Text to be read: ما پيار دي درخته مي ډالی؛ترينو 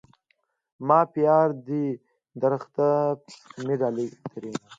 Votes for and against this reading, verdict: 2, 0, accepted